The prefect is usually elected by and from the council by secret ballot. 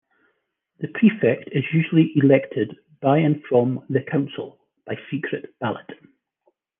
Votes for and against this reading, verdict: 3, 0, accepted